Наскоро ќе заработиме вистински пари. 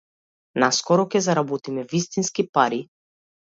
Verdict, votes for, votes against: accepted, 2, 0